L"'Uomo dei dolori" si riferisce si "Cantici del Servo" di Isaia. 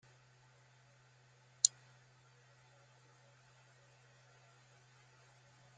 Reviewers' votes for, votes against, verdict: 0, 2, rejected